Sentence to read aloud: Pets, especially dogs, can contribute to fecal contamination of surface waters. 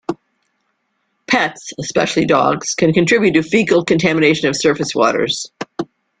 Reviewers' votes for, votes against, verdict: 2, 0, accepted